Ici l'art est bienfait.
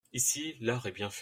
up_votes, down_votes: 1, 2